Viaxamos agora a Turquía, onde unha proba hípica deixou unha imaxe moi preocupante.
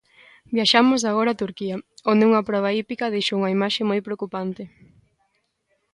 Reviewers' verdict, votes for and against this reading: accepted, 2, 0